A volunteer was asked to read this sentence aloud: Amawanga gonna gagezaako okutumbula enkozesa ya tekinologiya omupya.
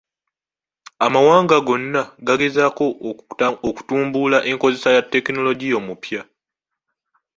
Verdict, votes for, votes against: rejected, 0, 2